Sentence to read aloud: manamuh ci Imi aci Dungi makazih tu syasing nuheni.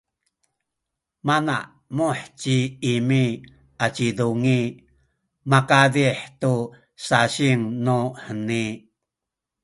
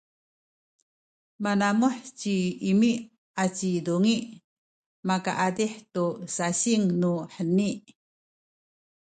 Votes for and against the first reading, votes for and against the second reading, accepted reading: 2, 0, 1, 2, first